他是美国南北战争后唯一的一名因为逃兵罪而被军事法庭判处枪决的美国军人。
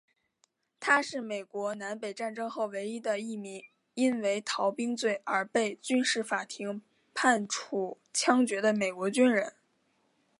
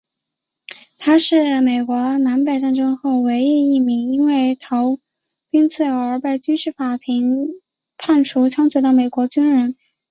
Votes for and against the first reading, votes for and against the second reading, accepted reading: 0, 2, 5, 1, second